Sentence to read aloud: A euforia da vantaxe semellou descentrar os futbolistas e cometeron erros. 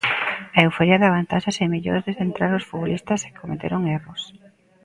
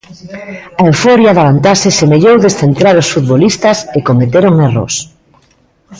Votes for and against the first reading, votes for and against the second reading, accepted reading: 0, 2, 2, 0, second